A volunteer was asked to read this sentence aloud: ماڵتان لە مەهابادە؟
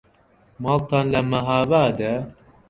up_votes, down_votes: 0, 2